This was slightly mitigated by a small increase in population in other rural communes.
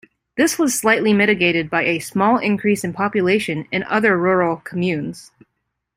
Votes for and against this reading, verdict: 2, 0, accepted